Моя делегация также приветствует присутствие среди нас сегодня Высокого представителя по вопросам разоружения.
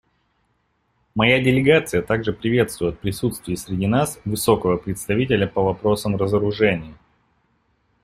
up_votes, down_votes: 1, 2